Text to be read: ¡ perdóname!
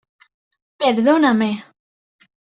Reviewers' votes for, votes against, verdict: 2, 0, accepted